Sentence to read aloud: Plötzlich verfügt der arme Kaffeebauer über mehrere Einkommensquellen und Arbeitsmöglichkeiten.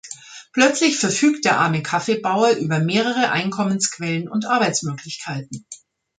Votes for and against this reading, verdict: 2, 0, accepted